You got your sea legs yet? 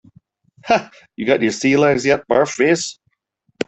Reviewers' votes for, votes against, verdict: 0, 2, rejected